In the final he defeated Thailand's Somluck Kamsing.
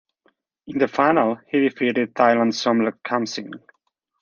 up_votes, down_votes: 2, 0